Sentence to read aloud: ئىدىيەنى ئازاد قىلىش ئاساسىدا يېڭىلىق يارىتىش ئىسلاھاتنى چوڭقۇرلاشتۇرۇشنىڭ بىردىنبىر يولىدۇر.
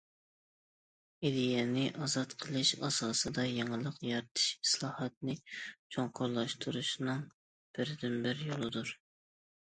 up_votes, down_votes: 2, 0